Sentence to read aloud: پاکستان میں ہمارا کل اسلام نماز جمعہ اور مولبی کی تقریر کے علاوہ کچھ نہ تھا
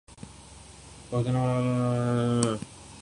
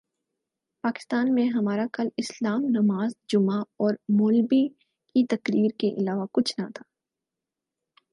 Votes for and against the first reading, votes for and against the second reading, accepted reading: 1, 2, 6, 4, second